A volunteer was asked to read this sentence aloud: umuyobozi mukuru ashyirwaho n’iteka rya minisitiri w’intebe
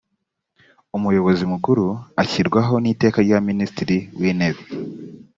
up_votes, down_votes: 2, 0